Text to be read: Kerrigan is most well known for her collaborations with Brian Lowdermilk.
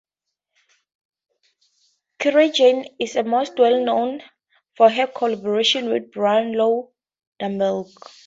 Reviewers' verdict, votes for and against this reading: rejected, 0, 2